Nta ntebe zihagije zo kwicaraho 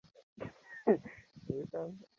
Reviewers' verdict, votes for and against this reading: rejected, 0, 2